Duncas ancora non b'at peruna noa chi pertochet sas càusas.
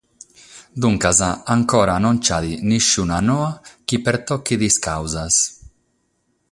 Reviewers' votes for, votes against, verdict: 3, 3, rejected